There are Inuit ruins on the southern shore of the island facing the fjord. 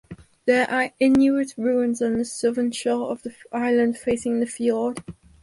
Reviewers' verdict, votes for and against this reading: accepted, 4, 0